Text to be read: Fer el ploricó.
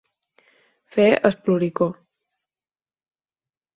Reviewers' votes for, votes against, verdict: 2, 4, rejected